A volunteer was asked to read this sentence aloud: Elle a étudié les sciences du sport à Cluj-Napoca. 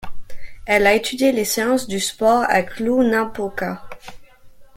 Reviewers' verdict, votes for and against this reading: rejected, 1, 2